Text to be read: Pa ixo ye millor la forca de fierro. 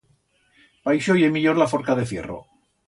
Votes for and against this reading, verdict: 2, 0, accepted